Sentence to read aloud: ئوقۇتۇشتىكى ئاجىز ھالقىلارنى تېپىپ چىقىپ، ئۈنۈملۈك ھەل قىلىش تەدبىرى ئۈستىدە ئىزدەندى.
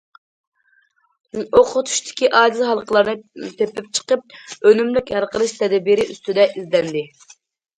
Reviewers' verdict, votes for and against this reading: accepted, 2, 0